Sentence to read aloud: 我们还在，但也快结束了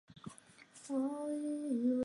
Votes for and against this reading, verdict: 1, 2, rejected